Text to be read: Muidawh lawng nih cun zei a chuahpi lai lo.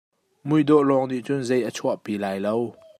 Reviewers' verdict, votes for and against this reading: accepted, 2, 0